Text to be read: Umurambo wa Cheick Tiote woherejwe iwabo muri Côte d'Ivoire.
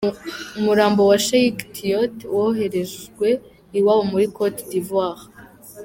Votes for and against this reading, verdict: 0, 2, rejected